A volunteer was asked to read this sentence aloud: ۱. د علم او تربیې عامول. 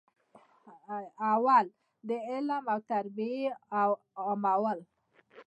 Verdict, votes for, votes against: rejected, 0, 2